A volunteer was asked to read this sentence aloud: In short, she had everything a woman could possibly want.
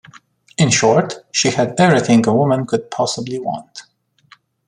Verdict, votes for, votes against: accepted, 2, 0